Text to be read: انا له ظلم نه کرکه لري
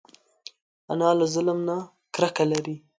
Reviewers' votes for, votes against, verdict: 3, 0, accepted